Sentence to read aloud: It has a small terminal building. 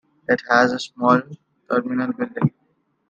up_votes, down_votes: 1, 2